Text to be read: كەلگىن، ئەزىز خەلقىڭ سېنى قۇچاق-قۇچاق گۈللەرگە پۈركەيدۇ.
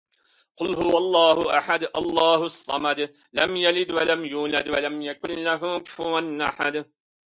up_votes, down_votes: 0, 2